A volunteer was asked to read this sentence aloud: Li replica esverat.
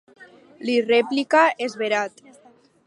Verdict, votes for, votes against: accepted, 6, 0